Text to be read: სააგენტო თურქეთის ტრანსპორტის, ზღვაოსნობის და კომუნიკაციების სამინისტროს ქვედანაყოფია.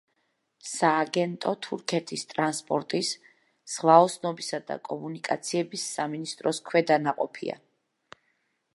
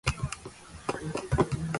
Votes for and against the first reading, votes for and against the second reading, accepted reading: 2, 0, 0, 2, first